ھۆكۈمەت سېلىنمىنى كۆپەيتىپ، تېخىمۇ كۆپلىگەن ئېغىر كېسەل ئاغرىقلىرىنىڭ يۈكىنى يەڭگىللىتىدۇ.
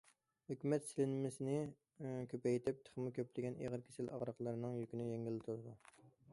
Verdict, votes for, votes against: rejected, 1, 2